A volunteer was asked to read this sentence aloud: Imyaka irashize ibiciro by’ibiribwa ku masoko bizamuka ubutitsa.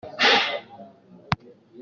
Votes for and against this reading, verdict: 0, 2, rejected